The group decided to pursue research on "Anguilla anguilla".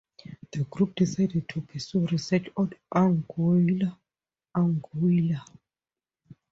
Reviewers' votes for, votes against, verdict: 2, 0, accepted